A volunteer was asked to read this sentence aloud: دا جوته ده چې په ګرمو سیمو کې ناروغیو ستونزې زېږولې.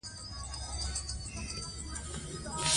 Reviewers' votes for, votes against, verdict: 2, 0, accepted